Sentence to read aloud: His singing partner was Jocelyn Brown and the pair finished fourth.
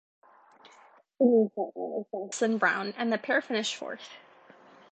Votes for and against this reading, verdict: 0, 2, rejected